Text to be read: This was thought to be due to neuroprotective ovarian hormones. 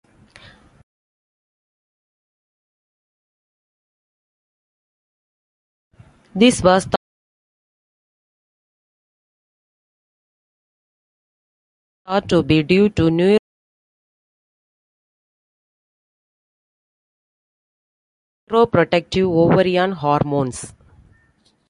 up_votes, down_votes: 0, 2